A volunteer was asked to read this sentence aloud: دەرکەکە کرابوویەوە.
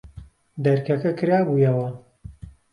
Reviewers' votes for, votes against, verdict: 2, 0, accepted